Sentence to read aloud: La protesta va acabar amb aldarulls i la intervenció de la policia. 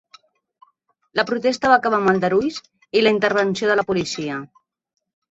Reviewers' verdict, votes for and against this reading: accepted, 3, 0